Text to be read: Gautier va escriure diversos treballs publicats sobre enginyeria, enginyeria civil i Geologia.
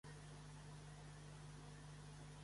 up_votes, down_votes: 0, 2